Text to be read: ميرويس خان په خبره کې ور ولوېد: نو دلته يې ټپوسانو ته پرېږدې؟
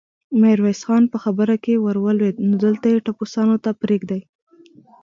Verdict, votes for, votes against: accepted, 2, 1